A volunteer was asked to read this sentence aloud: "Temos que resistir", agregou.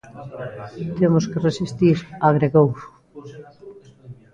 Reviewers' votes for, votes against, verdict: 1, 2, rejected